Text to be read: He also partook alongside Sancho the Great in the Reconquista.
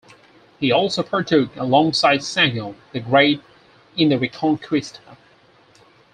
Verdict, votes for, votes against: rejected, 0, 4